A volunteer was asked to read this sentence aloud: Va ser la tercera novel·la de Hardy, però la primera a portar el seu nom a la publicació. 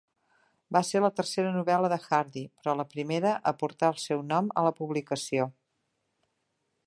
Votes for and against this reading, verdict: 3, 0, accepted